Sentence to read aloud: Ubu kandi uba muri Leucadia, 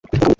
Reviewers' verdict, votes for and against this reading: rejected, 0, 2